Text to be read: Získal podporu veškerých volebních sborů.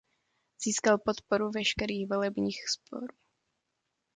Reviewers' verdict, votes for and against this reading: rejected, 1, 2